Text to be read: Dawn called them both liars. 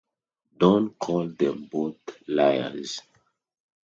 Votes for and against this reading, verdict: 0, 2, rejected